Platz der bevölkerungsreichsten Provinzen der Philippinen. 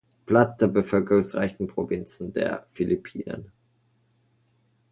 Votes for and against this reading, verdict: 0, 2, rejected